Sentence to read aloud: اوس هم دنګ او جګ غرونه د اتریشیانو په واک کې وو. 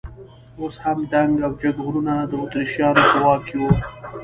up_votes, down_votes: 1, 2